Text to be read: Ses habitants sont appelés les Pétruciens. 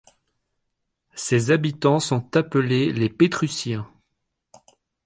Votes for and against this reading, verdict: 2, 0, accepted